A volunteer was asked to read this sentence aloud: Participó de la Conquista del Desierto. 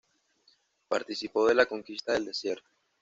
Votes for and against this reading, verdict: 1, 2, rejected